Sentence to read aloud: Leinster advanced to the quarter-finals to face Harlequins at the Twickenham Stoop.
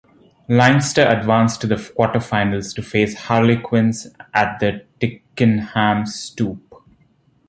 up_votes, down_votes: 1, 2